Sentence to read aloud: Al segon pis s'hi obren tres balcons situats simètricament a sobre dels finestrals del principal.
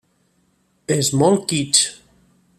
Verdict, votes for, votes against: rejected, 0, 2